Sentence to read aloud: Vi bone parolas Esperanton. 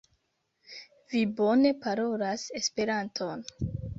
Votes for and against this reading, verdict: 1, 2, rejected